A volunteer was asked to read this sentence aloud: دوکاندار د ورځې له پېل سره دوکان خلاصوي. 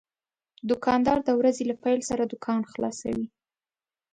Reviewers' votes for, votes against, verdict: 2, 0, accepted